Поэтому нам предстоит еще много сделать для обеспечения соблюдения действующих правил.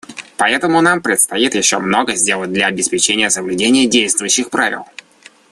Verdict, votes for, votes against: accepted, 2, 0